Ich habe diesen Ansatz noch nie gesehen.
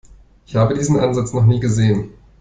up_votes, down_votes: 2, 1